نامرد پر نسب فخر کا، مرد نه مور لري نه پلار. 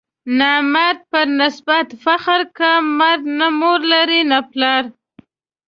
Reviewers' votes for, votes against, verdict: 0, 2, rejected